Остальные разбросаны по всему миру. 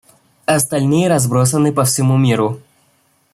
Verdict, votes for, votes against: accepted, 2, 0